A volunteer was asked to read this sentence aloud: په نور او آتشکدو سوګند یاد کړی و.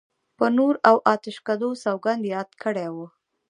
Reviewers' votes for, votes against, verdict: 1, 2, rejected